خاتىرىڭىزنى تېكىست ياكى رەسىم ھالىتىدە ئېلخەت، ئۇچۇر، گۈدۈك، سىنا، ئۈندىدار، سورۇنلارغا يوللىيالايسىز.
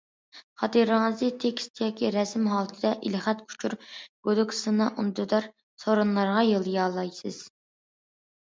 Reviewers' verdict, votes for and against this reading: accepted, 2, 1